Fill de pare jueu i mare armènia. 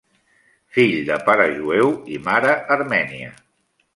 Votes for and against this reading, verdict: 3, 0, accepted